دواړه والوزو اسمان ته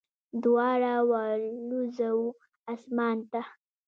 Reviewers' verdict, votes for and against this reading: rejected, 0, 2